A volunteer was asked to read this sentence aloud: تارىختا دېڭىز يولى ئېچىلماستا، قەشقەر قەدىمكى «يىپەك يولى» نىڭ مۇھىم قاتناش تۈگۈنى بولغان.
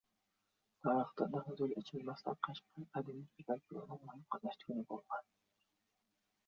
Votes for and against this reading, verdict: 1, 2, rejected